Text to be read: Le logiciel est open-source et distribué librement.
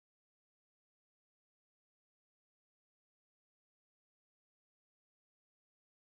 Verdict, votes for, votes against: rejected, 1, 2